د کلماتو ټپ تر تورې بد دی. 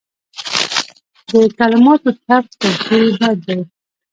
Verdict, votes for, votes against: accepted, 2, 0